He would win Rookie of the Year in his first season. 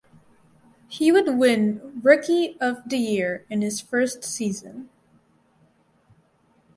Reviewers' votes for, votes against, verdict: 4, 0, accepted